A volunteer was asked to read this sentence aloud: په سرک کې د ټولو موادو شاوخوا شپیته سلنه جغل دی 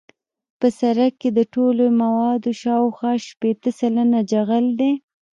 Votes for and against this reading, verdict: 1, 2, rejected